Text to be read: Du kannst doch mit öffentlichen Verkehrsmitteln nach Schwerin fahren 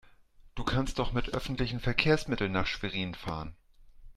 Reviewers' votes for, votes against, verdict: 2, 0, accepted